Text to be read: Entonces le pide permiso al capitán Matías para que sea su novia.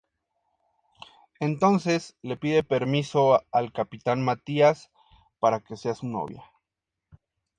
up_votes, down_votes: 2, 0